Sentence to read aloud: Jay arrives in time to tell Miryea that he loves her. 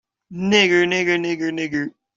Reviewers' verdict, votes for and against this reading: rejected, 0, 2